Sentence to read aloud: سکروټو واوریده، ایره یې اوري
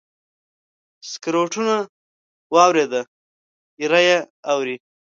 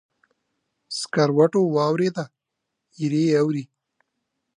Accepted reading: second